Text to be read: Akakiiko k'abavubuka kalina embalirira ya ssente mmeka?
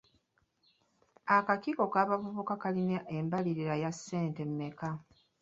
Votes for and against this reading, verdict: 0, 2, rejected